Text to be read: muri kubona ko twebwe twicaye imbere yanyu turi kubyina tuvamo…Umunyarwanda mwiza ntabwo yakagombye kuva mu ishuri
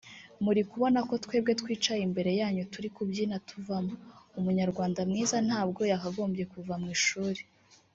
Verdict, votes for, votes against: rejected, 0, 2